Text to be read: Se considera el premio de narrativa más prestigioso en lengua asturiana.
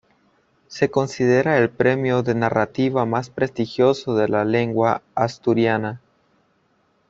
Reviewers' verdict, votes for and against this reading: rejected, 0, 2